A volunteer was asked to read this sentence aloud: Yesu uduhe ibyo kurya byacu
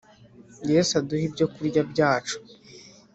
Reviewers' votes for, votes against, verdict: 3, 0, accepted